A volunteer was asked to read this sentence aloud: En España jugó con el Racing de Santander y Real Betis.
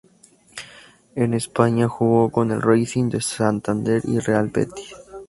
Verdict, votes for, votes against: accepted, 2, 0